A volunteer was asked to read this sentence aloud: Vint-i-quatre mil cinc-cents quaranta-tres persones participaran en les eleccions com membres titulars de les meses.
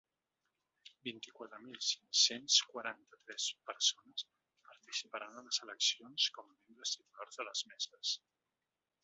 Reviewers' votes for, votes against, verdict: 2, 0, accepted